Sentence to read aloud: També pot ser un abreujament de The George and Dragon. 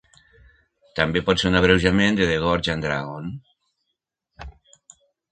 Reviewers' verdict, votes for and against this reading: rejected, 0, 2